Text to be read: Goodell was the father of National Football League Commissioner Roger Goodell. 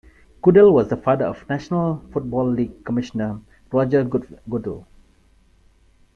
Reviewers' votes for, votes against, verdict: 1, 2, rejected